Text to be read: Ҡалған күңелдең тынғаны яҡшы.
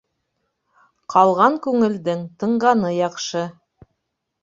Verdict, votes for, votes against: accepted, 2, 0